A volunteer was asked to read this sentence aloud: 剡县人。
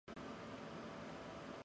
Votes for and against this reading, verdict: 2, 3, rejected